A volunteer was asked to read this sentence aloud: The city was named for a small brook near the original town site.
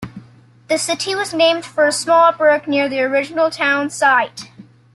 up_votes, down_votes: 2, 0